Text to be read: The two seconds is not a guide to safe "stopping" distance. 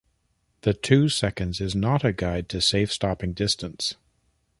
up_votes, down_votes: 2, 0